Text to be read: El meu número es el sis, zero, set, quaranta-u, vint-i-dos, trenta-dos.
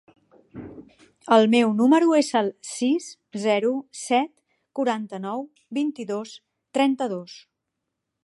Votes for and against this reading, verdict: 0, 2, rejected